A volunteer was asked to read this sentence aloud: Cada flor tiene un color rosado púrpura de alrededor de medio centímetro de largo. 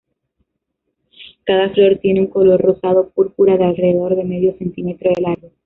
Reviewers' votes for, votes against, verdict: 0, 2, rejected